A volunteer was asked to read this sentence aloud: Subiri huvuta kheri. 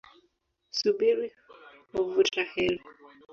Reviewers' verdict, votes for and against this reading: rejected, 1, 2